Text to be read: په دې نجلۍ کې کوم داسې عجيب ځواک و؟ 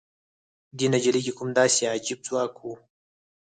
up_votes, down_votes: 2, 4